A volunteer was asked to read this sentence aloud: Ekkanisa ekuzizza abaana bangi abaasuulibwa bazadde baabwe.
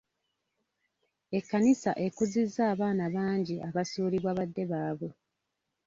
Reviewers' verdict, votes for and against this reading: rejected, 0, 2